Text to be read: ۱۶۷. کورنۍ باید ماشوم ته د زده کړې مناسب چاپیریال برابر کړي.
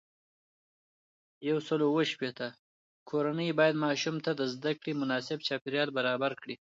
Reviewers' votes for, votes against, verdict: 0, 2, rejected